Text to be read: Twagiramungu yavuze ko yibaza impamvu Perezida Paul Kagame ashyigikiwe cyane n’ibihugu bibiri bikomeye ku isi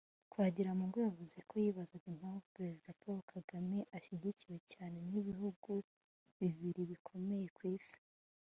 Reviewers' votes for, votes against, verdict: 2, 0, accepted